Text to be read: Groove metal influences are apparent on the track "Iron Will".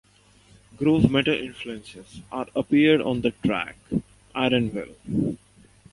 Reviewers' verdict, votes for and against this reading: rejected, 1, 2